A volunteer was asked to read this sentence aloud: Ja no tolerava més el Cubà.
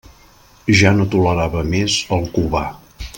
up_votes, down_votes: 2, 0